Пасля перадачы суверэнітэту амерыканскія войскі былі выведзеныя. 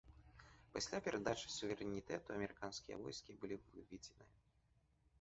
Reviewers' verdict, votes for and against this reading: rejected, 1, 2